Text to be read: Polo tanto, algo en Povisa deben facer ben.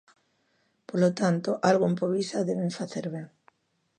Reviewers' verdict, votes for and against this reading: accepted, 2, 0